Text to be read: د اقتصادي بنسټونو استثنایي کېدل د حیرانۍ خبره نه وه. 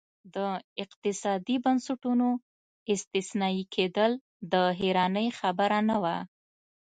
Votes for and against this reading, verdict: 2, 0, accepted